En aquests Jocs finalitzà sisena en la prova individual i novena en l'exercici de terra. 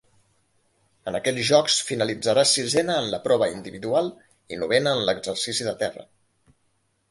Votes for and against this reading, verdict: 2, 1, accepted